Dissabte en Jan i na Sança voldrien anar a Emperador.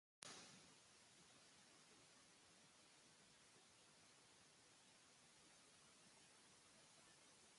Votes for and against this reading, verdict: 0, 3, rejected